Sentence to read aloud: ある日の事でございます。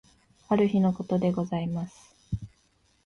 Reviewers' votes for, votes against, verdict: 2, 0, accepted